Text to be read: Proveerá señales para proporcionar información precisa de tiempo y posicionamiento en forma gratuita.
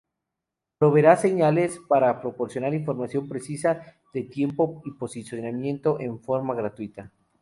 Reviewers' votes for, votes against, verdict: 2, 0, accepted